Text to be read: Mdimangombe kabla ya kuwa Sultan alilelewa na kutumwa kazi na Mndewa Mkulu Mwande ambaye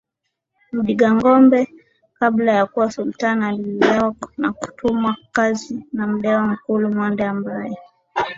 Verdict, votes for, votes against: accepted, 2, 0